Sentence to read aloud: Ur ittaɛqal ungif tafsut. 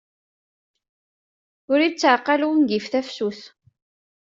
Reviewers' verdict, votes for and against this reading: accepted, 2, 0